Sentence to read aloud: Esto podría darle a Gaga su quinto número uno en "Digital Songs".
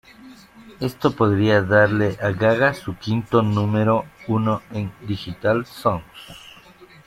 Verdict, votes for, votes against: rejected, 0, 2